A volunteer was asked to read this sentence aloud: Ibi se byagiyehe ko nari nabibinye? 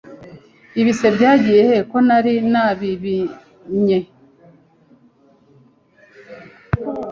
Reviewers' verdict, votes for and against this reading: rejected, 1, 2